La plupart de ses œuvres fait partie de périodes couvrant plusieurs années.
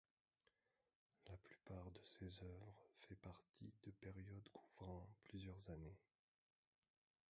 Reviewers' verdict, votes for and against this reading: rejected, 0, 2